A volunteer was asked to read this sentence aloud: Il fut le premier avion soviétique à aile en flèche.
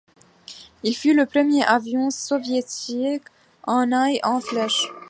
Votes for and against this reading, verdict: 1, 2, rejected